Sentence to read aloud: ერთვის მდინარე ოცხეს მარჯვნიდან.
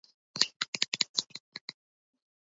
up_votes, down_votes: 0, 2